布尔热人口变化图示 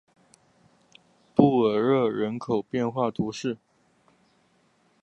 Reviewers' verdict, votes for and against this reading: accepted, 6, 0